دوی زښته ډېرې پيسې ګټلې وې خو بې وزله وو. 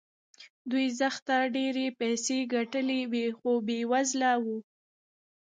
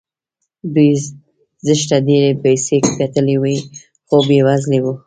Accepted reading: second